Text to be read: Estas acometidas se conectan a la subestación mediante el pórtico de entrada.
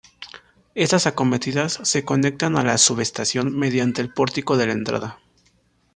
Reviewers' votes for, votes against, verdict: 0, 2, rejected